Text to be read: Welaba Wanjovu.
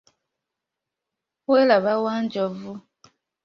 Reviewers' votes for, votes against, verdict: 2, 0, accepted